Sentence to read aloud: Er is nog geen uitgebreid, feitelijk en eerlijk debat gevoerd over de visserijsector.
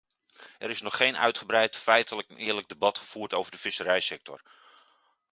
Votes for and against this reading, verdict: 2, 0, accepted